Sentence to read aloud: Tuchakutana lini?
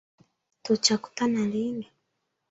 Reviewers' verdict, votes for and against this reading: rejected, 0, 2